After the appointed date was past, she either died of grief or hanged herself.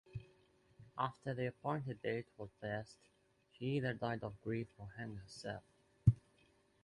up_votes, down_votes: 2, 0